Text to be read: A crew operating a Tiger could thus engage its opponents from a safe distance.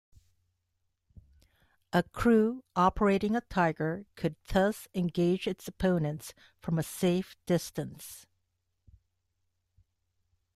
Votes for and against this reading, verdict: 1, 2, rejected